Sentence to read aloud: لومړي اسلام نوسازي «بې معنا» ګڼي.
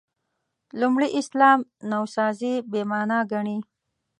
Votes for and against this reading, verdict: 1, 2, rejected